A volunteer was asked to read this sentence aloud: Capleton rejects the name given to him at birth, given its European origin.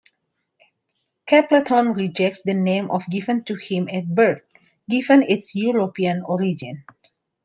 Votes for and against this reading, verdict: 1, 2, rejected